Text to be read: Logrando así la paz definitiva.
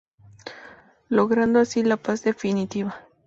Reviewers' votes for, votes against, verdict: 2, 0, accepted